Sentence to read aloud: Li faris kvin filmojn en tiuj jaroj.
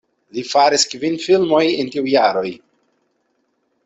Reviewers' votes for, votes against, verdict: 0, 2, rejected